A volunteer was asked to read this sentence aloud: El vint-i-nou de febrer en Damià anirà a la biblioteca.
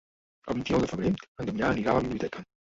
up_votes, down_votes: 1, 2